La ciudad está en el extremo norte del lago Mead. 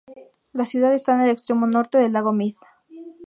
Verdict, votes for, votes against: rejected, 0, 2